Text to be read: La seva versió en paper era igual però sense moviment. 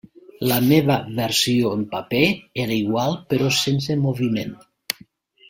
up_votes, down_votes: 0, 2